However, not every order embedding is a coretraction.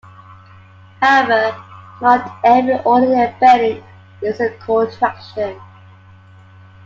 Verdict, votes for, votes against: rejected, 1, 2